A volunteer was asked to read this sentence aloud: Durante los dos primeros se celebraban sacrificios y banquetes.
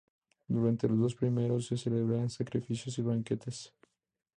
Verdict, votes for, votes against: accepted, 2, 0